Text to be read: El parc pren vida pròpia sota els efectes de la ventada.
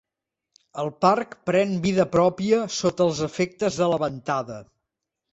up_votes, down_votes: 4, 0